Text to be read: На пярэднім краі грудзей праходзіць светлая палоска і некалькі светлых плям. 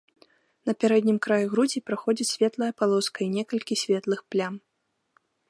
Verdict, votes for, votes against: rejected, 1, 2